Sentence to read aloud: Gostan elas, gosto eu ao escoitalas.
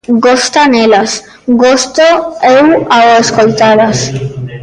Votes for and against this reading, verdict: 0, 2, rejected